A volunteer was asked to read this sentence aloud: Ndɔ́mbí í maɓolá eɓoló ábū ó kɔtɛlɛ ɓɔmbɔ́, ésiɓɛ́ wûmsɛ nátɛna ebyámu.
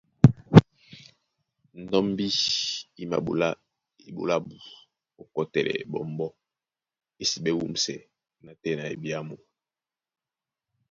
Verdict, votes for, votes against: accepted, 2, 0